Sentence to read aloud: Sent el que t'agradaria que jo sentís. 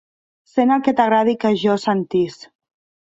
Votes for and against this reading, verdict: 0, 2, rejected